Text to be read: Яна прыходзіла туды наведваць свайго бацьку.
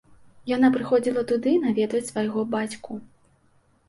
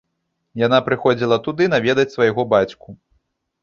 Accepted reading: first